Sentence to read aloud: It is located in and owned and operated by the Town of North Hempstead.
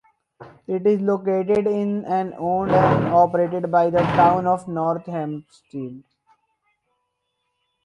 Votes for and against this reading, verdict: 2, 4, rejected